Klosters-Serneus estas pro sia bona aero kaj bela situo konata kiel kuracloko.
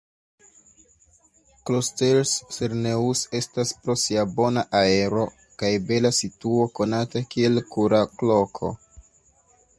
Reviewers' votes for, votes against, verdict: 0, 2, rejected